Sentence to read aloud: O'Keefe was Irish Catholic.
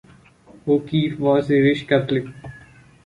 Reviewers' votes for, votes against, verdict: 0, 2, rejected